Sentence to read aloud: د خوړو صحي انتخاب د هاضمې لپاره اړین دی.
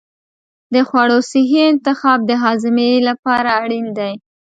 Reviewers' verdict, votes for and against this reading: accepted, 2, 0